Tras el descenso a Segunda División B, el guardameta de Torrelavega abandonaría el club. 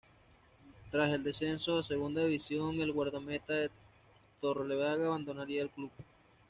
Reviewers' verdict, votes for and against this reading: rejected, 1, 2